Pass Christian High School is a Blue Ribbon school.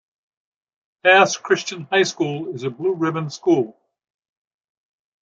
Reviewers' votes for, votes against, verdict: 2, 0, accepted